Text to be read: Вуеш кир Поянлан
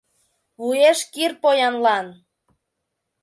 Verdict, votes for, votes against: accepted, 2, 0